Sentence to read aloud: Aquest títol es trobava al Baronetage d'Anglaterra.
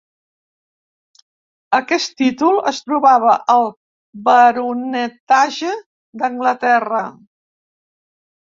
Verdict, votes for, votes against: rejected, 0, 2